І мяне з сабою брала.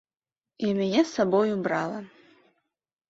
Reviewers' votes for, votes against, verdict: 3, 0, accepted